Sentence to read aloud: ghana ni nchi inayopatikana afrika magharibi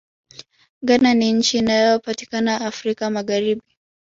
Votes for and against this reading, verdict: 3, 2, accepted